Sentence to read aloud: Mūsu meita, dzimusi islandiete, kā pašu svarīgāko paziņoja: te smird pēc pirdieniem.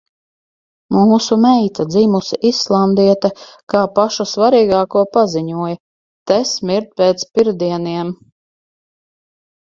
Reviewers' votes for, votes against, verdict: 4, 0, accepted